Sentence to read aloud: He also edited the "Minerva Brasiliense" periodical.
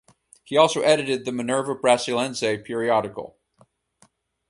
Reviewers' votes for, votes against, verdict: 4, 0, accepted